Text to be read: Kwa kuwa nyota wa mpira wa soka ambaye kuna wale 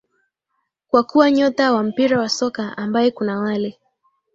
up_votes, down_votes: 2, 0